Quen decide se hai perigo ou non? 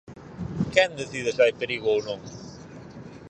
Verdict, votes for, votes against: accepted, 4, 0